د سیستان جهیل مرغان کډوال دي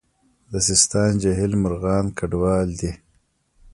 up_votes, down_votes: 1, 2